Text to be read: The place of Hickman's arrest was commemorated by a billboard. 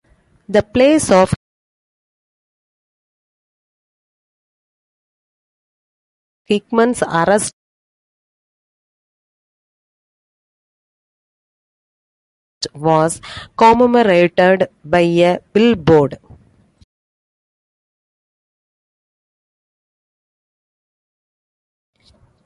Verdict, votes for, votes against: rejected, 1, 2